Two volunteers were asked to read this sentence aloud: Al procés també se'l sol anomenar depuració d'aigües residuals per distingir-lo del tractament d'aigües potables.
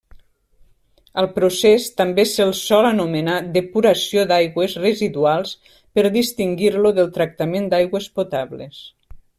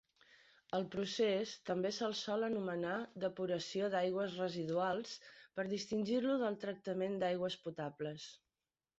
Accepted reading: second